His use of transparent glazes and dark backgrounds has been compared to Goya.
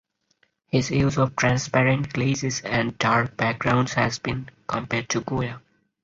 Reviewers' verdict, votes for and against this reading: accepted, 4, 0